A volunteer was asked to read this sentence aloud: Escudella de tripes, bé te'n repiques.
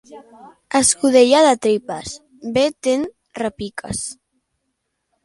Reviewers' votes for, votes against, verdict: 3, 0, accepted